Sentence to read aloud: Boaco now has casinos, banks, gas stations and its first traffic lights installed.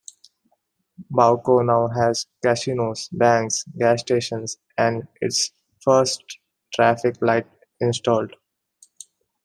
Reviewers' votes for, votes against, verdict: 1, 2, rejected